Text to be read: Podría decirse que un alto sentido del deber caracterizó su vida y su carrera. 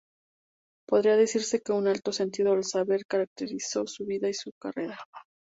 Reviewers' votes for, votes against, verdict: 0, 2, rejected